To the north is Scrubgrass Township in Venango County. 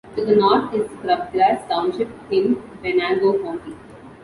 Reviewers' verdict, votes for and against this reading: accepted, 2, 0